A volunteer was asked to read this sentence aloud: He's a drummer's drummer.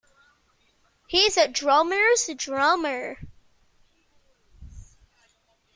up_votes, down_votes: 2, 0